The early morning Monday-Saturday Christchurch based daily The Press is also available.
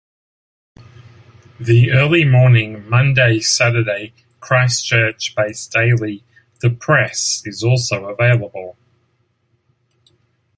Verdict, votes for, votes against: accepted, 2, 0